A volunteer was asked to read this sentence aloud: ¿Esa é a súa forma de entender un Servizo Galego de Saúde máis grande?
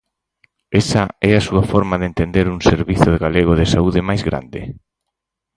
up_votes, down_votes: 4, 0